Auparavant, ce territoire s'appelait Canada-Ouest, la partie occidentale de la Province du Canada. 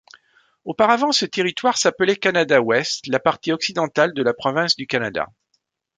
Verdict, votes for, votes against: accepted, 2, 0